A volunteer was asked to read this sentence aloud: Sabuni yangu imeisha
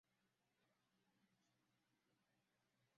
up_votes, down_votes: 0, 2